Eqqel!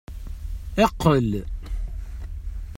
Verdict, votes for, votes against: accepted, 2, 0